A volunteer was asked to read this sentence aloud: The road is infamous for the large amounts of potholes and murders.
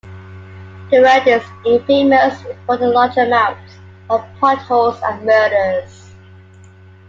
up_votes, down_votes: 2, 0